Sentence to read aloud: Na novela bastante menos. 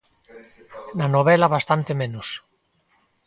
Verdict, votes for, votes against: accepted, 2, 0